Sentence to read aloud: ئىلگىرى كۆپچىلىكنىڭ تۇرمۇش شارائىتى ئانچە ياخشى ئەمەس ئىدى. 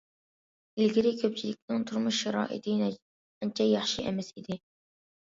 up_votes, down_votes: 0, 2